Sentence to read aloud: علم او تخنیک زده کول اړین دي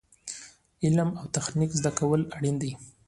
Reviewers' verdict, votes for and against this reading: accepted, 2, 0